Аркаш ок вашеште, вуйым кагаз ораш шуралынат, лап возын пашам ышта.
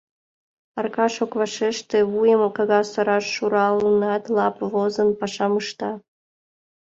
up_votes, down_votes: 2, 0